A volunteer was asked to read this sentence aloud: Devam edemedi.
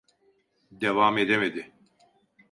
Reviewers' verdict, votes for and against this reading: accepted, 2, 0